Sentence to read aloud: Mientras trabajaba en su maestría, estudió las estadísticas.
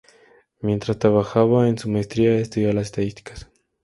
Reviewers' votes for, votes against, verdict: 4, 4, rejected